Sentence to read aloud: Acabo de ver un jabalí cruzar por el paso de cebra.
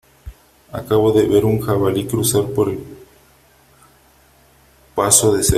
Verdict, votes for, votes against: rejected, 0, 3